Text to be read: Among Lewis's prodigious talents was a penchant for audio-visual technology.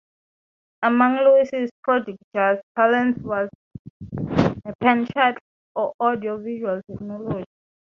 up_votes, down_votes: 0, 3